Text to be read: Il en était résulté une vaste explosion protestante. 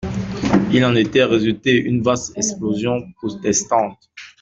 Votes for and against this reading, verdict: 2, 0, accepted